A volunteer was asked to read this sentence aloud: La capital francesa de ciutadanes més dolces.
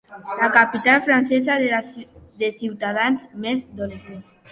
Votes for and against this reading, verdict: 0, 2, rejected